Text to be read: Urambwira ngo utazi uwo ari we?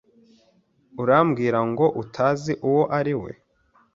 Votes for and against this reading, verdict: 2, 0, accepted